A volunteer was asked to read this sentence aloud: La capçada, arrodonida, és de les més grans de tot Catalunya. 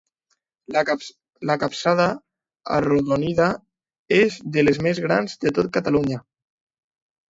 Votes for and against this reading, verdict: 0, 2, rejected